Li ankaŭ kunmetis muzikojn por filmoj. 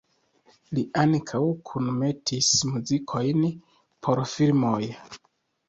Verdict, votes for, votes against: accepted, 2, 0